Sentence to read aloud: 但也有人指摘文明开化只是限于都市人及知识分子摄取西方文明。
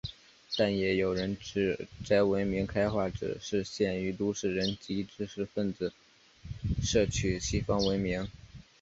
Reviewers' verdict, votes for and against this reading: accepted, 2, 0